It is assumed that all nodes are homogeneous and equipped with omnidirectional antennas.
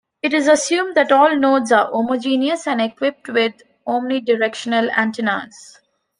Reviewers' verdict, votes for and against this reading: accepted, 2, 1